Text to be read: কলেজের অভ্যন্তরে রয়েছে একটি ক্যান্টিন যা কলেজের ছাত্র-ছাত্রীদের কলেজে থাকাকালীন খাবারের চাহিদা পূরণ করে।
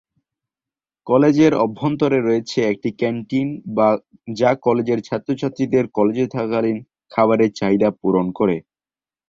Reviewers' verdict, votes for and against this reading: rejected, 1, 2